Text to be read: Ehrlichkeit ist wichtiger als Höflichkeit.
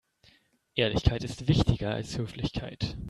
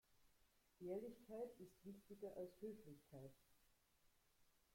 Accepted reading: first